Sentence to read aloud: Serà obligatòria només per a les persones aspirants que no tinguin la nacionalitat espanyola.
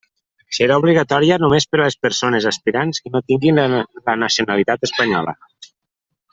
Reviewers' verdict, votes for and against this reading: rejected, 1, 2